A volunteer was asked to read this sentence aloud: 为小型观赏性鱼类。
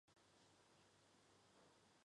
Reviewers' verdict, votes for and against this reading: rejected, 0, 3